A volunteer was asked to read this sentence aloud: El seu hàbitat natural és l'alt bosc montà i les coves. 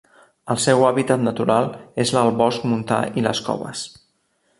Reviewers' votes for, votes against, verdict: 2, 0, accepted